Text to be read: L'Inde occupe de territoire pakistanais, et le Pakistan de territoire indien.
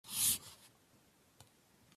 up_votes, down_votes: 0, 2